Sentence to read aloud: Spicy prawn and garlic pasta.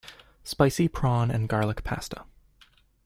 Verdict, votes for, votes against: accepted, 2, 0